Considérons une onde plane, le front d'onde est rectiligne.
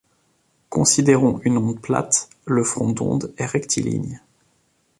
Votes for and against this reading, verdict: 1, 2, rejected